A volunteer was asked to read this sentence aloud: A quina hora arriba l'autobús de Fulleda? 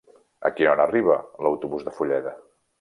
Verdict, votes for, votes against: rejected, 1, 2